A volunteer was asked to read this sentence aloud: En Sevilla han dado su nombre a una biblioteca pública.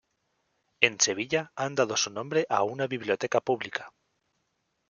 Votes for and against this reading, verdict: 2, 0, accepted